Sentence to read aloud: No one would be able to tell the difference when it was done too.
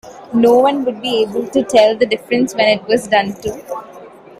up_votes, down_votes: 2, 0